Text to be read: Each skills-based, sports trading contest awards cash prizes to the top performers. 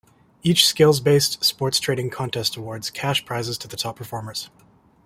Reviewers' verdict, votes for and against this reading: accepted, 2, 0